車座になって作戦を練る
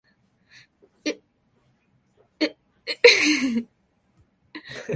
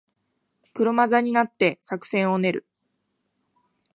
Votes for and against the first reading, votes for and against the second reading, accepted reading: 0, 2, 3, 0, second